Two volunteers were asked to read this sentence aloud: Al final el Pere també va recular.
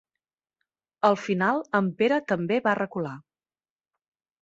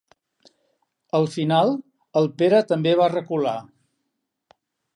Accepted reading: second